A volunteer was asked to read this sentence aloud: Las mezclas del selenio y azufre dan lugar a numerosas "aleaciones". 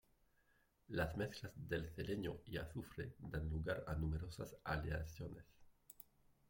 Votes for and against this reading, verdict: 0, 2, rejected